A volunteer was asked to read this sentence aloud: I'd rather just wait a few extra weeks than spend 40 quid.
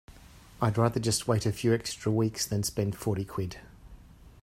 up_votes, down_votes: 0, 2